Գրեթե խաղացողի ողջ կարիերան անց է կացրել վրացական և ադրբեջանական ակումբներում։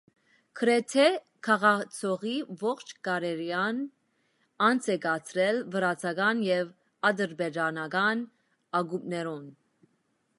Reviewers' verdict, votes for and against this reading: rejected, 1, 2